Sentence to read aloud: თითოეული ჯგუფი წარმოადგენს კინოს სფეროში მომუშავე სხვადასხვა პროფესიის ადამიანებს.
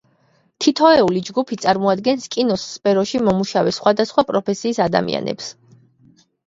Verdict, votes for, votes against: accepted, 2, 0